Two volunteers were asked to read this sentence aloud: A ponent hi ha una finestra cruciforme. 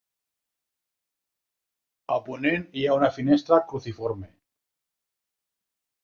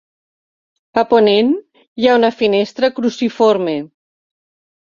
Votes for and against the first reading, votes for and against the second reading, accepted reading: 0, 2, 3, 0, second